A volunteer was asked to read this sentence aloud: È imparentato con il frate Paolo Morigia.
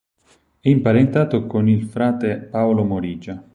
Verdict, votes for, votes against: accepted, 6, 0